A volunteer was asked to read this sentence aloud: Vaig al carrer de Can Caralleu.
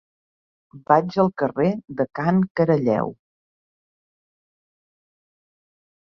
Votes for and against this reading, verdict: 3, 0, accepted